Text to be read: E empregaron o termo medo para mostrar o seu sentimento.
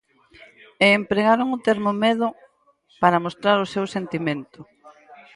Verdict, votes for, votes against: accepted, 4, 0